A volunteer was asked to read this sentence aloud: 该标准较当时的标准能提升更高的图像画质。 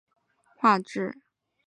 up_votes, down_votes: 0, 3